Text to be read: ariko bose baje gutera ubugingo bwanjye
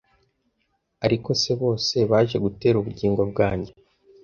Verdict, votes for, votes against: rejected, 0, 2